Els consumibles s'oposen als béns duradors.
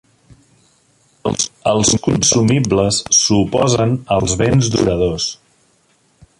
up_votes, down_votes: 1, 2